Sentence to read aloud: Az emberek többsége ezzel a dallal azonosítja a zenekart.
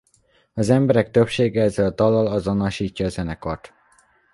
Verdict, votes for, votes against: accepted, 2, 0